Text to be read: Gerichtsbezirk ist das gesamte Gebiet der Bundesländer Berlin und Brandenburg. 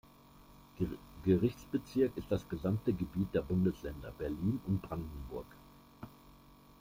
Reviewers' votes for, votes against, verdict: 1, 2, rejected